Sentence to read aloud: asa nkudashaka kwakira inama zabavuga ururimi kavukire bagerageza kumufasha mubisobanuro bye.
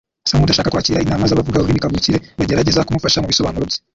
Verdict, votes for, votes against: rejected, 1, 2